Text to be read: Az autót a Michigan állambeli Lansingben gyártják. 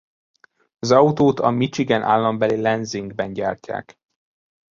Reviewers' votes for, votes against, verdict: 1, 2, rejected